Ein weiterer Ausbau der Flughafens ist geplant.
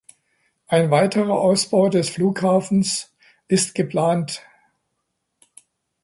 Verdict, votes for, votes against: accepted, 2, 1